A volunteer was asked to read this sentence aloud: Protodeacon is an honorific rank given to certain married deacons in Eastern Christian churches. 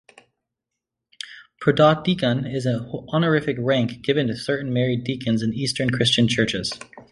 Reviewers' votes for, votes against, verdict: 1, 2, rejected